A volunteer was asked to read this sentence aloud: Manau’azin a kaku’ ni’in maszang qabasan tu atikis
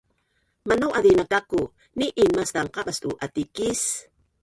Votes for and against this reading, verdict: 1, 4, rejected